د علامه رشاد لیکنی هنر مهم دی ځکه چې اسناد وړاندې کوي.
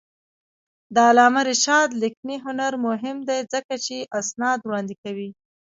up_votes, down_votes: 1, 2